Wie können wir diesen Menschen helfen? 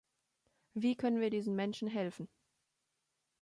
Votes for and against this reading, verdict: 2, 0, accepted